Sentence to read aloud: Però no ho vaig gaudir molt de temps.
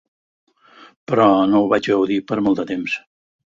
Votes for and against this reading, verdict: 0, 4, rejected